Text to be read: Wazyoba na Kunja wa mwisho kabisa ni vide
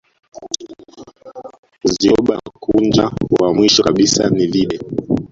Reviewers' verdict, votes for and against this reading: rejected, 0, 2